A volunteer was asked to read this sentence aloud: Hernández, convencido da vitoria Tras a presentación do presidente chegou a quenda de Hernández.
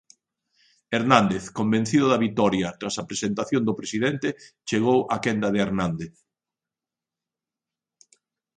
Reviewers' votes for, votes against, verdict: 2, 1, accepted